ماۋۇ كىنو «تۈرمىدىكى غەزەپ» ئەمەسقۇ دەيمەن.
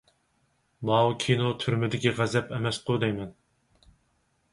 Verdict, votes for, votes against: accepted, 4, 0